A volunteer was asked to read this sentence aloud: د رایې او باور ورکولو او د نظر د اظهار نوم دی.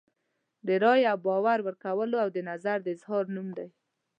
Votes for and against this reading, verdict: 2, 0, accepted